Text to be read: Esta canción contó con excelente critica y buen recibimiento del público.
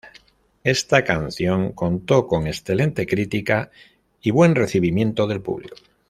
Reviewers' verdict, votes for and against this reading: accepted, 2, 0